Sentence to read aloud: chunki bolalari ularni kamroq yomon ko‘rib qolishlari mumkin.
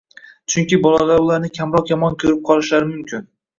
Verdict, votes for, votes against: rejected, 0, 2